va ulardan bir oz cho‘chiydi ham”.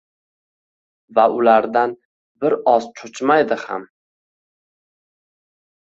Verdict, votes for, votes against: rejected, 0, 2